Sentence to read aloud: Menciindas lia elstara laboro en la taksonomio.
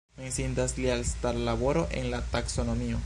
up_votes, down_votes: 1, 3